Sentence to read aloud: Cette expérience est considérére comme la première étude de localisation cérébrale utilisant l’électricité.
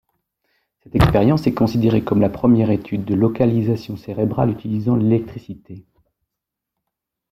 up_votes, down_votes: 1, 2